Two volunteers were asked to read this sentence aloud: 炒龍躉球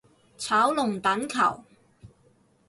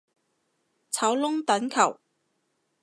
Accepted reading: first